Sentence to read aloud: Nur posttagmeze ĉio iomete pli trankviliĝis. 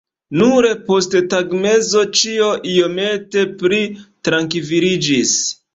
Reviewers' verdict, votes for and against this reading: rejected, 0, 3